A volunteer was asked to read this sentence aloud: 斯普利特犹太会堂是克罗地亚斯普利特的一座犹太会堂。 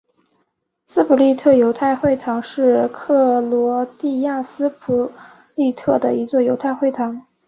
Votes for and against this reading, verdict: 2, 0, accepted